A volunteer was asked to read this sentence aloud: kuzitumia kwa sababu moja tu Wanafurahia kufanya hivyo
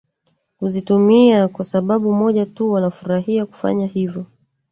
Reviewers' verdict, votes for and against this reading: accepted, 3, 1